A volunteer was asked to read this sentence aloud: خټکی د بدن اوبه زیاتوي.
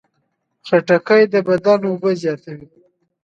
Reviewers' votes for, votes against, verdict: 2, 0, accepted